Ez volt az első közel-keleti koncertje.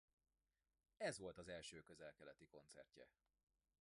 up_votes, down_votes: 0, 2